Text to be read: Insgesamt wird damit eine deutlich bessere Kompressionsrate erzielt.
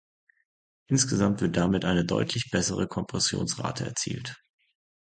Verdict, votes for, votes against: accepted, 2, 0